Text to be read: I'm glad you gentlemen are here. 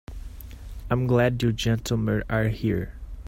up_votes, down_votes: 1, 2